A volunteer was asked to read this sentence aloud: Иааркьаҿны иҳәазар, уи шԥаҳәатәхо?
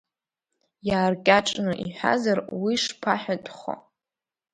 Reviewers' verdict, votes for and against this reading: rejected, 0, 2